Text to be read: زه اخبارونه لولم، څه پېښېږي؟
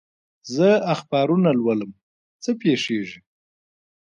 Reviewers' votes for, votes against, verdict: 2, 0, accepted